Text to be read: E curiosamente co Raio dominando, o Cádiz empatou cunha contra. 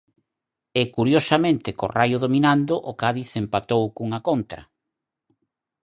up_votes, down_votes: 4, 0